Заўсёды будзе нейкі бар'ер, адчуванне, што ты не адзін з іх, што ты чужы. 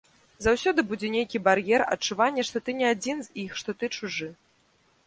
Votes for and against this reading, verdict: 2, 0, accepted